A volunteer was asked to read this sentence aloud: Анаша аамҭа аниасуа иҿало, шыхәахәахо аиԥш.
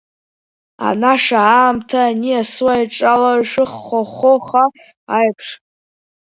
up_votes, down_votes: 0, 2